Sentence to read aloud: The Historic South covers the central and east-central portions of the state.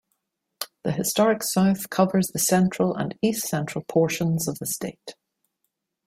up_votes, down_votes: 2, 0